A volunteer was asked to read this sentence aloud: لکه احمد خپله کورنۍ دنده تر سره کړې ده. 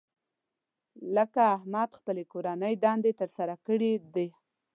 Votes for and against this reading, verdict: 1, 2, rejected